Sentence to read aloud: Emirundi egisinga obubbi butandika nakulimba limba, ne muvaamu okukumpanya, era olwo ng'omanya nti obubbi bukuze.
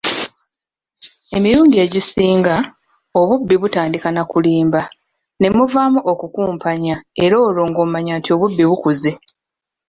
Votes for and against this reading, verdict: 1, 2, rejected